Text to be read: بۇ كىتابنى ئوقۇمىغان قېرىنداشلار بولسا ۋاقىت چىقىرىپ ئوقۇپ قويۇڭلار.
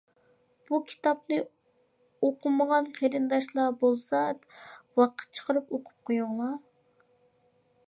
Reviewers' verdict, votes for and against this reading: accepted, 2, 0